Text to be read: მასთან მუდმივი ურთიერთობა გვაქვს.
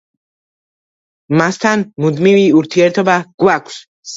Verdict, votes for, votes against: accepted, 2, 0